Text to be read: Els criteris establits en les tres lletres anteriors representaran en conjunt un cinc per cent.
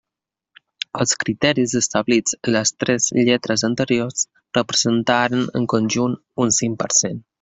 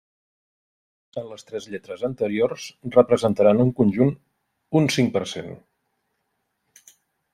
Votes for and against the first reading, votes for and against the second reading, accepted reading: 2, 1, 0, 2, first